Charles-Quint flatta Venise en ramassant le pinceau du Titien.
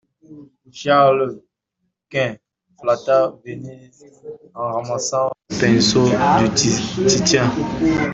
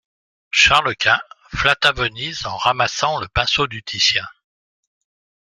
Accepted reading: second